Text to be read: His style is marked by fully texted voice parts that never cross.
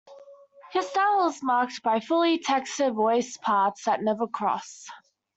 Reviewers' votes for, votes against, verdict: 1, 2, rejected